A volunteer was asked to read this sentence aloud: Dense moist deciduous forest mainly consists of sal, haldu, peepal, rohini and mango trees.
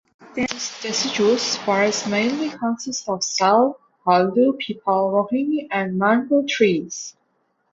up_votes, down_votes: 0, 2